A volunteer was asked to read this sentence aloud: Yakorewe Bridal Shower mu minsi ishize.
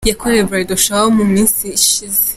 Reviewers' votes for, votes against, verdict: 2, 0, accepted